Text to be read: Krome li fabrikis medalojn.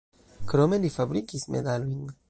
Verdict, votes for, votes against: rejected, 1, 2